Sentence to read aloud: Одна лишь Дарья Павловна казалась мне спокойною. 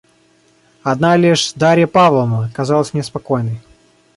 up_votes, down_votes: 1, 2